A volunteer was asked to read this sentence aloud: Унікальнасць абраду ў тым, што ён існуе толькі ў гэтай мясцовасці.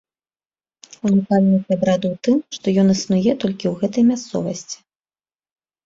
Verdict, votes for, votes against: rejected, 1, 2